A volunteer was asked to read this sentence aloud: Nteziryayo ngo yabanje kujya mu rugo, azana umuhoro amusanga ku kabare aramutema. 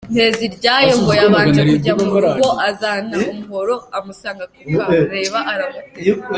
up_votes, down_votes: 0, 2